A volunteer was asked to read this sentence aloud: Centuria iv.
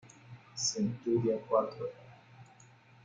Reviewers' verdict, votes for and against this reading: rejected, 1, 2